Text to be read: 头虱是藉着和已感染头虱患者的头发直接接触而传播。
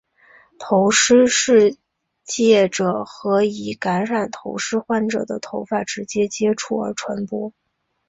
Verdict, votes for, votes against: accepted, 3, 1